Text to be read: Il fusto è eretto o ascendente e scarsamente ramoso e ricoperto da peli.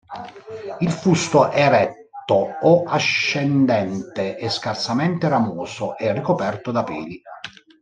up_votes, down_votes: 0, 2